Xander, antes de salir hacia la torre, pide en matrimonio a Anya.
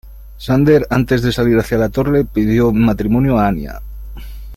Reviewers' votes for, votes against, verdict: 2, 1, accepted